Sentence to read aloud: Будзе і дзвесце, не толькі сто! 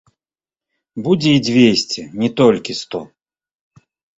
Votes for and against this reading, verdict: 1, 2, rejected